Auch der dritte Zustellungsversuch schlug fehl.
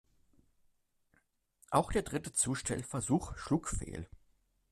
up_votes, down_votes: 1, 2